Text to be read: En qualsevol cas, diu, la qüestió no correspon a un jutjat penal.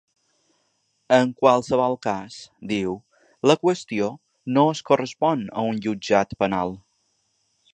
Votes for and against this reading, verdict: 1, 3, rejected